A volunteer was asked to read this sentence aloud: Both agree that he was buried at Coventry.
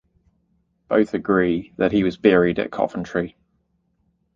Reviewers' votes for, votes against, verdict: 2, 0, accepted